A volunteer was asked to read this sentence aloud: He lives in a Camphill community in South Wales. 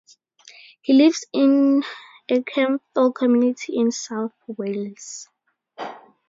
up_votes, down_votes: 2, 6